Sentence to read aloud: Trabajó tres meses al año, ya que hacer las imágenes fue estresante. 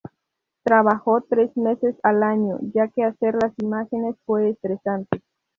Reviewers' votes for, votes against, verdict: 0, 2, rejected